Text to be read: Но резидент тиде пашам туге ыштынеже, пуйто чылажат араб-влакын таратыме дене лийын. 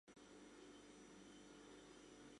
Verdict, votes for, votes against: rejected, 1, 2